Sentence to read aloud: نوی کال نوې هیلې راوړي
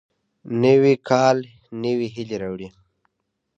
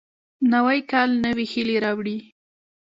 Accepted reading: second